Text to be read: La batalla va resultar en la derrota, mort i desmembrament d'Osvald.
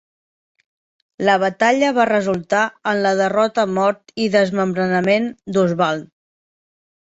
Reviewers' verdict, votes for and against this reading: accepted, 2, 1